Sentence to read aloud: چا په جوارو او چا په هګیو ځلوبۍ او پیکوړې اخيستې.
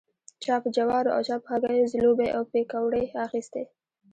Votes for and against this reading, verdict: 2, 1, accepted